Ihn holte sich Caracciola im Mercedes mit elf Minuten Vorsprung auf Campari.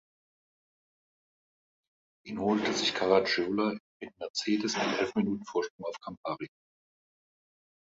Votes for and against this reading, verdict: 1, 2, rejected